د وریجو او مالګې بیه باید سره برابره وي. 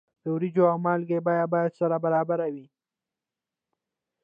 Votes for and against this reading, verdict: 1, 2, rejected